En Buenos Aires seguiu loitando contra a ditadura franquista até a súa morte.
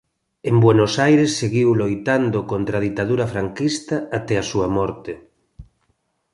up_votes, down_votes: 2, 1